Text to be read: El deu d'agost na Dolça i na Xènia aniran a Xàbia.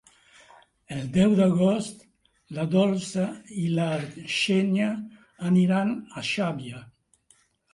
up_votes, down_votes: 0, 2